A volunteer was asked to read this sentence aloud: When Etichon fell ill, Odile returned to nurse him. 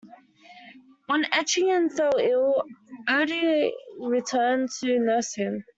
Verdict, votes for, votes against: rejected, 0, 2